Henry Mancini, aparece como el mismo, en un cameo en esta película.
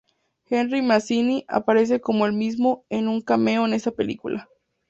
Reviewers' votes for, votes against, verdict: 0, 2, rejected